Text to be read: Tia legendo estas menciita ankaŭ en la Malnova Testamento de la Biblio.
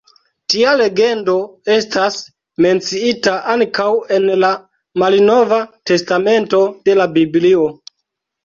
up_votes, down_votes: 1, 2